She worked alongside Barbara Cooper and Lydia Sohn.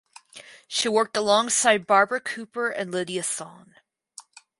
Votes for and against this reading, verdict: 4, 0, accepted